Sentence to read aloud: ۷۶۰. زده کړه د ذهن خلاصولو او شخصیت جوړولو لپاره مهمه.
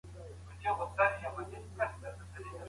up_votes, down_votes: 0, 2